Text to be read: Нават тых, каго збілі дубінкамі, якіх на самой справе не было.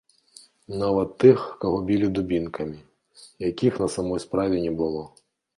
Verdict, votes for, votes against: rejected, 0, 2